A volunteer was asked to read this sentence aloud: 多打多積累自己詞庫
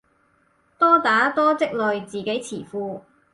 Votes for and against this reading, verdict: 4, 0, accepted